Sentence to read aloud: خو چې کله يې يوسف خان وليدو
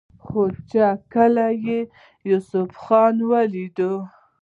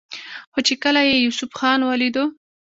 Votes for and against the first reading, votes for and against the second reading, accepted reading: 0, 2, 2, 0, second